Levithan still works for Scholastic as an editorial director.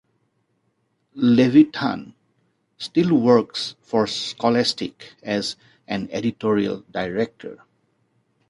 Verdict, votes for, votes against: accepted, 2, 0